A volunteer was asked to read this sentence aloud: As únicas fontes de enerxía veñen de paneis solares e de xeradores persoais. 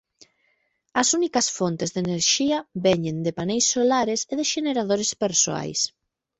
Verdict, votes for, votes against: rejected, 1, 2